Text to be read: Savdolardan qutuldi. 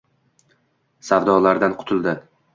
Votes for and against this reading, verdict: 2, 0, accepted